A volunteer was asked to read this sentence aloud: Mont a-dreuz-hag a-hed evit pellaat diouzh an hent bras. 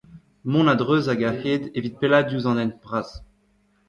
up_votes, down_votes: 1, 2